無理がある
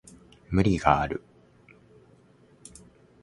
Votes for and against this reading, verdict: 2, 0, accepted